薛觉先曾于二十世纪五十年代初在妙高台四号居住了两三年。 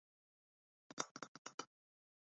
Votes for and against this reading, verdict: 3, 4, rejected